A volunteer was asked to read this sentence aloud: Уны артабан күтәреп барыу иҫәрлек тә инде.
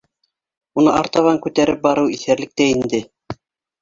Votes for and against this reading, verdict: 0, 2, rejected